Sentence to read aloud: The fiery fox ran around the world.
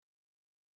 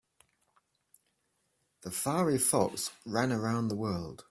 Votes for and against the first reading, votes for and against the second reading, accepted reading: 0, 2, 2, 0, second